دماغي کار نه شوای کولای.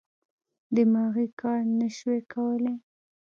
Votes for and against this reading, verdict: 1, 2, rejected